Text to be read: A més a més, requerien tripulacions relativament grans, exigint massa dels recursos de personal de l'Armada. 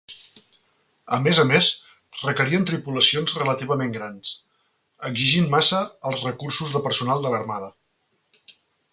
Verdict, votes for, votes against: rejected, 0, 2